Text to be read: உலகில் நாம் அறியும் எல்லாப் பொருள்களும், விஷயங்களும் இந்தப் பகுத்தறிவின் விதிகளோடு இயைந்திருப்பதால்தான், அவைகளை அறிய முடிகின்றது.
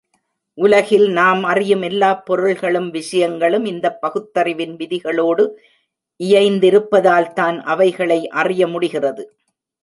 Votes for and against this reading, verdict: 1, 2, rejected